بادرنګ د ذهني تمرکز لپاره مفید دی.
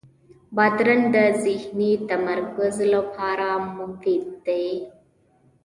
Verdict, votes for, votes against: accepted, 2, 1